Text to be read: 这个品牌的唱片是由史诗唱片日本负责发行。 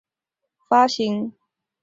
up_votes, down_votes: 0, 4